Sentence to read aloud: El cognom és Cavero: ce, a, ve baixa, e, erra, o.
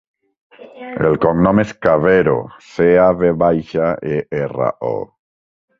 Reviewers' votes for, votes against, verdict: 2, 1, accepted